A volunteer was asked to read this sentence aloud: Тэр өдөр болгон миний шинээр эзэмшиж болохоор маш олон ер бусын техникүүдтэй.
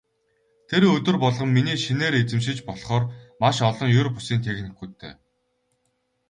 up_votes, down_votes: 4, 0